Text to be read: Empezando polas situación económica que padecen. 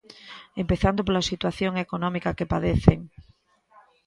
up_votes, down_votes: 1, 2